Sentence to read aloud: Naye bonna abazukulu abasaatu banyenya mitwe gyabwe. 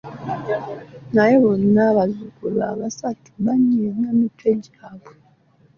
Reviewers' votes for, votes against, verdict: 0, 2, rejected